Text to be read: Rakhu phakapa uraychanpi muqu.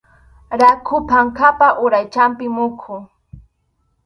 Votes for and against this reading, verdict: 2, 2, rejected